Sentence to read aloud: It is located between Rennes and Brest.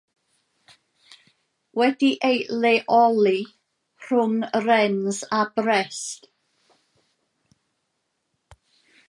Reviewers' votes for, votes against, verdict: 0, 2, rejected